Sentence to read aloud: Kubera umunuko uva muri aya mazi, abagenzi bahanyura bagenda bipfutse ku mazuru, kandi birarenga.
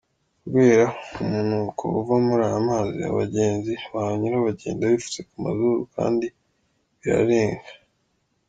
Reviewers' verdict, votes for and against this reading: accepted, 2, 1